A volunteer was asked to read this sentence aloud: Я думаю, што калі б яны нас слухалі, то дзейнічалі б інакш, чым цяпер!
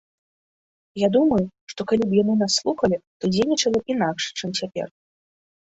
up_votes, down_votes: 2, 0